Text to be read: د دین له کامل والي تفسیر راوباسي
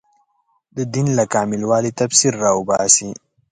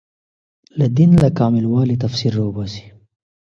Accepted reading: first